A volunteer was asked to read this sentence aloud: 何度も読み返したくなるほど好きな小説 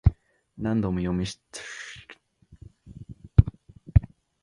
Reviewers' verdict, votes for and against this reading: rejected, 0, 2